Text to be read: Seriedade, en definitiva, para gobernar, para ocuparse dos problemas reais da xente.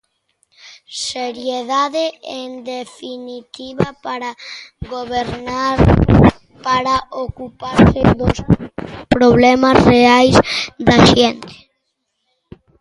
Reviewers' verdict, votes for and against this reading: rejected, 1, 2